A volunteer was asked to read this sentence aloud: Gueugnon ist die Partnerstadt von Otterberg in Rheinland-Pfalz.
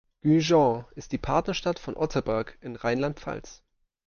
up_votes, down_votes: 2, 1